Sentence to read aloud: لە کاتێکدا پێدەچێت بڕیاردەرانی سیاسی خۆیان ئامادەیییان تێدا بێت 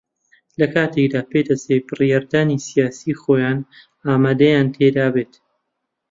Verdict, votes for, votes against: rejected, 0, 2